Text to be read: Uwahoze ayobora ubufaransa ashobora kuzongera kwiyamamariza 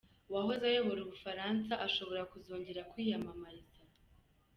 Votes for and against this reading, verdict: 2, 0, accepted